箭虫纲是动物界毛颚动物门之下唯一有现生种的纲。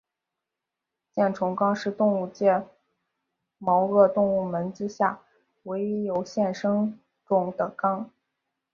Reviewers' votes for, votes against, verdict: 2, 1, accepted